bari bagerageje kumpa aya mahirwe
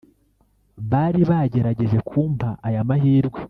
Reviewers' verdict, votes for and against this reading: rejected, 1, 2